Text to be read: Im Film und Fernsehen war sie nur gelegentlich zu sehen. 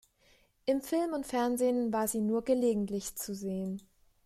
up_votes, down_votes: 2, 0